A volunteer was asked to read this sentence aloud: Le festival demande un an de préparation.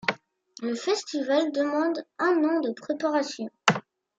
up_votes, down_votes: 0, 2